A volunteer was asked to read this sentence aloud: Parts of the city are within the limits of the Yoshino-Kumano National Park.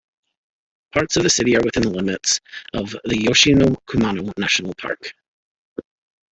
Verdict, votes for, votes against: rejected, 0, 2